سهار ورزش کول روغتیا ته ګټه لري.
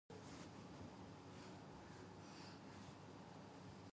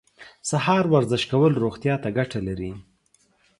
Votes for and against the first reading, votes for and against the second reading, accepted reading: 0, 2, 4, 0, second